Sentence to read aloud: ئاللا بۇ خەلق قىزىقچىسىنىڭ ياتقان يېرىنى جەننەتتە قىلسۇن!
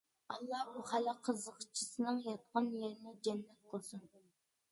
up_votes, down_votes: 0, 2